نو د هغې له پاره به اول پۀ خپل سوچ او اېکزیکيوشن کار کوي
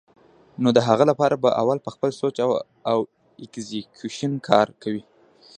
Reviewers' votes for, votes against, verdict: 0, 2, rejected